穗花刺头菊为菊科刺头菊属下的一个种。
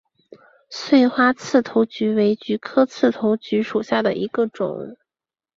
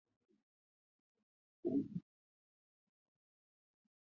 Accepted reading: first